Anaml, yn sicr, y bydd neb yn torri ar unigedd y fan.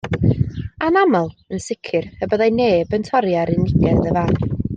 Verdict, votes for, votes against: rejected, 1, 2